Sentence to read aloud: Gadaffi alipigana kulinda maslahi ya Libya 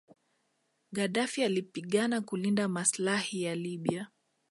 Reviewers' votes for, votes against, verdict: 2, 0, accepted